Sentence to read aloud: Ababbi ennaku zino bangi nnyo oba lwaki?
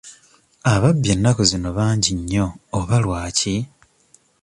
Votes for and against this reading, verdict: 2, 0, accepted